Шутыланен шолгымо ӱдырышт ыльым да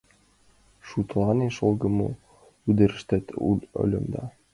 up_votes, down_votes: 1, 2